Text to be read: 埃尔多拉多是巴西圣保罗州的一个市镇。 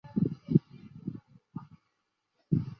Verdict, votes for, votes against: rejected, 2, 3